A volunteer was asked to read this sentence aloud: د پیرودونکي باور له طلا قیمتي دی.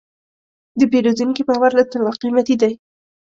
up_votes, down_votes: 2, 0